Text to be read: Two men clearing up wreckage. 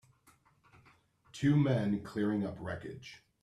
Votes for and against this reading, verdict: 3, 1, accepted